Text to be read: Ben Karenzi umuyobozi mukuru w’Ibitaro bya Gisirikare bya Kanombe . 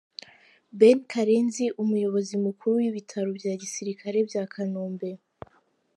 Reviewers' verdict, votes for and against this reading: accepted, 2, 1